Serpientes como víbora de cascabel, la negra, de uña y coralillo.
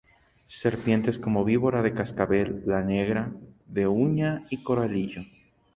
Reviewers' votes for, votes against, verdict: 2, 0, accepted